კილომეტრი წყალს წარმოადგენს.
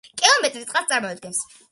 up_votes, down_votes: 2, 1